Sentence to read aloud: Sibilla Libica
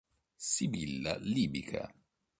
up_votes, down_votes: 2, 0